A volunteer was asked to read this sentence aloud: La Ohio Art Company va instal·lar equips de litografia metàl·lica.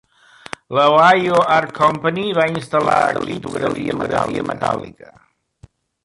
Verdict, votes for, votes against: rejected, 0, 2